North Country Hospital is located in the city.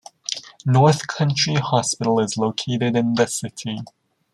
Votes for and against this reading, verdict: 3, 0, accepted